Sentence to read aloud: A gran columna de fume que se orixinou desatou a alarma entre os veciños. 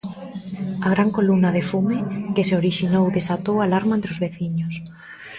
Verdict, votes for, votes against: rejected, 1, 2